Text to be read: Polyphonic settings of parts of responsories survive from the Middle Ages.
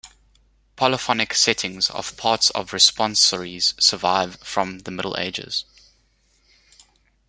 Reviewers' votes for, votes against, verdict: 2, 0, accepted